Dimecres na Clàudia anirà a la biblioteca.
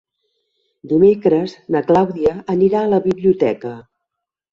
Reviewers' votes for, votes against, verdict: 3, 0, accepted